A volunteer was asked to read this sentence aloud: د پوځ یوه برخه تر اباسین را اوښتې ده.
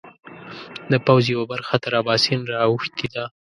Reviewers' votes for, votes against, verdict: 1, 2, rejected